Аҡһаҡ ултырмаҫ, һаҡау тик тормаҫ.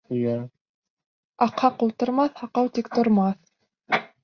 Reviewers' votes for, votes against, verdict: 0, 2, rejected